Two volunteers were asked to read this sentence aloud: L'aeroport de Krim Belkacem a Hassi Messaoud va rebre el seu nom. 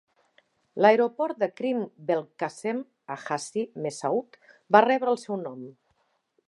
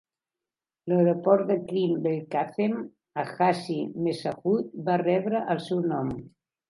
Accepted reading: first